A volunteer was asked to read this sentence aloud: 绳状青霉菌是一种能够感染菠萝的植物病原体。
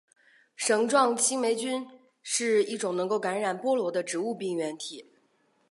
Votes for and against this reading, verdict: 4, 1, accepted